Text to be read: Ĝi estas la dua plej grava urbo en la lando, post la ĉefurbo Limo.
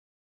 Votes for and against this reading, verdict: 0, 2, rejected